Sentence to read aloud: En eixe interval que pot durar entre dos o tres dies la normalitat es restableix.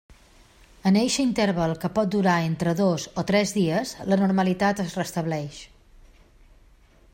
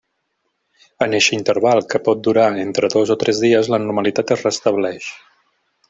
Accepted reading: first